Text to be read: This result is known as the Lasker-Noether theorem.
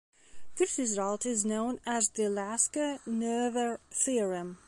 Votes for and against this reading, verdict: 2, 0, accepted